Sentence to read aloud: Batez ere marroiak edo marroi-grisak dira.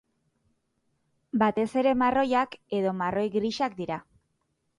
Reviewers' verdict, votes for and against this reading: accepted, 8, 0